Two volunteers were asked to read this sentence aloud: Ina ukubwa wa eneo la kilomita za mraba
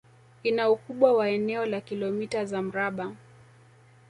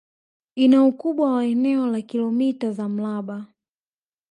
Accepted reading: second